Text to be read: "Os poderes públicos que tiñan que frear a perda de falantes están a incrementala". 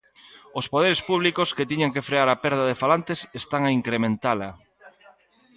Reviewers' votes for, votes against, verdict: 2, 0, accepted